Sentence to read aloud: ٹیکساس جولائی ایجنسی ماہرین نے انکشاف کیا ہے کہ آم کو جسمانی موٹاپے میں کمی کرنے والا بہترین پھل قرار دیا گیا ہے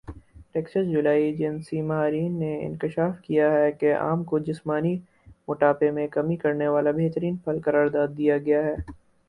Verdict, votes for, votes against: accepted, 4, 0